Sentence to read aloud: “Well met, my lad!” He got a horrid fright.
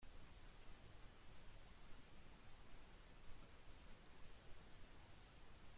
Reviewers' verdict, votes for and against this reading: rejected, 0, 2